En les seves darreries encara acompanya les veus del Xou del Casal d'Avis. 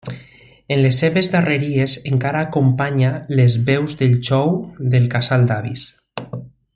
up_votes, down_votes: 2, 0